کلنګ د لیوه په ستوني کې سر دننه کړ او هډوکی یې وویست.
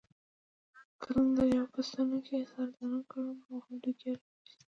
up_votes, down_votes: 1, 2